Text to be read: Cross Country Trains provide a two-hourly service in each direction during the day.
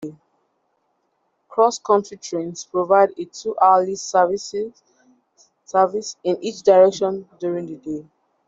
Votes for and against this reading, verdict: 0, 2, rejected